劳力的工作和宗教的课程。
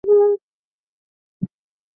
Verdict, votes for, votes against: rejected, 0, 2